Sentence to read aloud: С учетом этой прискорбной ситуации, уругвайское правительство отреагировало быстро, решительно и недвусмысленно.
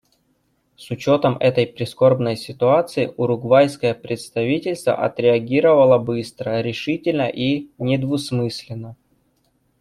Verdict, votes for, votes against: rejected, 0, 2